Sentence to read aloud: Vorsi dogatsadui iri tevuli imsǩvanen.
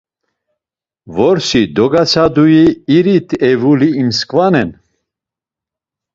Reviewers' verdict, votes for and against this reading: accepted, 2, 0